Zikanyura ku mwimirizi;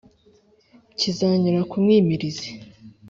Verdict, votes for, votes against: accepted, 3, 1